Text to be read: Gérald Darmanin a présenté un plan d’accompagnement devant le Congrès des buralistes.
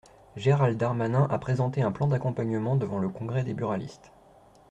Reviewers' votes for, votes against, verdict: 2, 0, accepted